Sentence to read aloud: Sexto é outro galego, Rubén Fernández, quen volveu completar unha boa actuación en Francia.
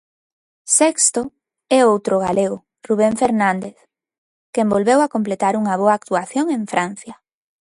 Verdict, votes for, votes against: rejected, 0, 2